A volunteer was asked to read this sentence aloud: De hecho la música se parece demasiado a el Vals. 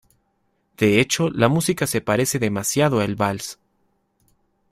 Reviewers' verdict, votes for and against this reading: accepted, 2, 0